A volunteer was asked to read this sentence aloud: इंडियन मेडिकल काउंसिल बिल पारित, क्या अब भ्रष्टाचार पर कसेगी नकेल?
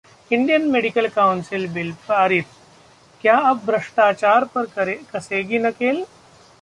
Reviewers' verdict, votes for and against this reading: accepted, 2, 1